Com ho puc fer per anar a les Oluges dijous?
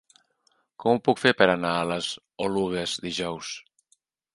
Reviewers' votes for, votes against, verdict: 0, 2, rejected